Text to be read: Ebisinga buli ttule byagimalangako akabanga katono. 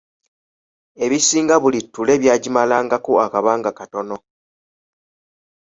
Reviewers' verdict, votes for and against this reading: accepted, 2, 0